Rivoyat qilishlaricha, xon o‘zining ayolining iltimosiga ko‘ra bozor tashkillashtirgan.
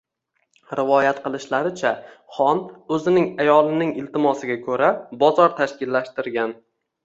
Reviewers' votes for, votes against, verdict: 2, 0, accepted